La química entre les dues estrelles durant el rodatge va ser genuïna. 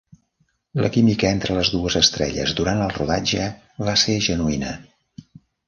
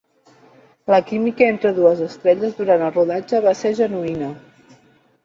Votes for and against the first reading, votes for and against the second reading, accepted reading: 3, 0, 0, 2, first